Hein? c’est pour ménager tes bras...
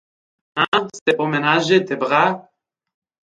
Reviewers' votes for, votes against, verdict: 1, 3, rejected